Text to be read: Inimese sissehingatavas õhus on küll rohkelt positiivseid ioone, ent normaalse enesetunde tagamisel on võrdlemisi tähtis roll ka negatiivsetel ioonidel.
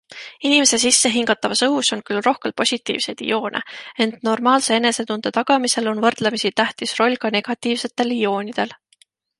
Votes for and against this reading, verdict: 2, 0, accepted